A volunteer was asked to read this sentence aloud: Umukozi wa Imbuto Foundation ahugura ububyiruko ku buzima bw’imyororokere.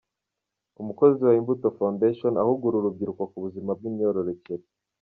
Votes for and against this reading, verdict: 0, 2, rejected